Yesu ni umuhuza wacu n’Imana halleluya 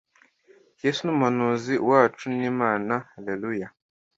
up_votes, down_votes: 0, 2